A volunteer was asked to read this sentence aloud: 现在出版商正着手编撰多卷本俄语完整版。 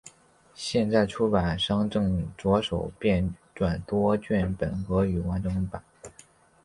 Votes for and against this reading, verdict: 3, 0, accepted